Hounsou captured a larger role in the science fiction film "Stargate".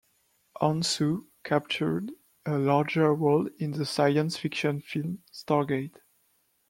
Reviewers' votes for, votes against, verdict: 2, 1, accepted